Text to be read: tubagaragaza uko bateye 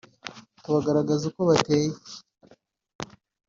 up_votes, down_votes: 1, 2